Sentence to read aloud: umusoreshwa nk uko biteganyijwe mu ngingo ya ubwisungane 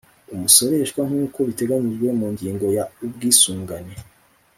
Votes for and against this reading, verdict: 2, 0, accepted